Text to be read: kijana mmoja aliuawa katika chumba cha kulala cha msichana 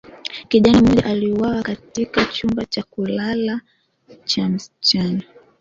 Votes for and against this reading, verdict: 2, 1, accepted